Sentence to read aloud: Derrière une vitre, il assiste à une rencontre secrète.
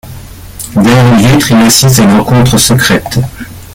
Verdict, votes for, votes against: rejected, 0, 2